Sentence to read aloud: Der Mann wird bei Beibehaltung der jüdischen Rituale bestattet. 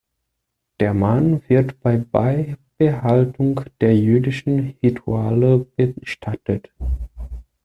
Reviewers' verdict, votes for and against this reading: rejected, 0, 2